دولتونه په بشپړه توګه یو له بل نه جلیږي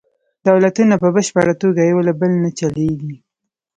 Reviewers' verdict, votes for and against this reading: rejected, 1, 2